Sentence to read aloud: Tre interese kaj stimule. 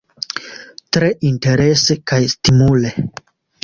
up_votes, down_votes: 2, 0